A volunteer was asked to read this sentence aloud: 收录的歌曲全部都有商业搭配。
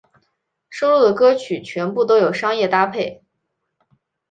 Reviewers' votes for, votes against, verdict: 2, 0, accepted